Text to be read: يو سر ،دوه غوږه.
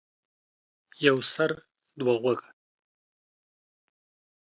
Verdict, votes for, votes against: accepted, 2, 0